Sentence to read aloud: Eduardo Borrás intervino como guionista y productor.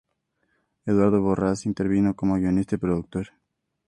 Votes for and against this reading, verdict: 2, 0, accepted